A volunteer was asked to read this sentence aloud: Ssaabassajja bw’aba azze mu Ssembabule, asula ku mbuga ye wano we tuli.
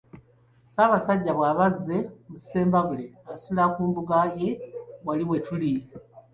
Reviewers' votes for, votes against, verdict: 1, 3, rejected